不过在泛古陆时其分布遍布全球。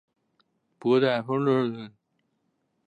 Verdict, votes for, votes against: rejected, 0, 2